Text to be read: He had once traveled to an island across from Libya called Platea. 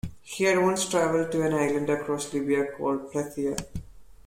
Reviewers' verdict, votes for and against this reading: rejected, 0, 2